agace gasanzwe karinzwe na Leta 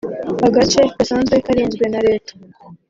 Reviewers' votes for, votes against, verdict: 2, 0, accepted